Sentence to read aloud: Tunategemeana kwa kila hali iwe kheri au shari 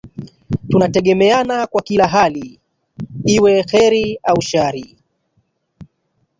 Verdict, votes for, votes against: rejected, 1, 2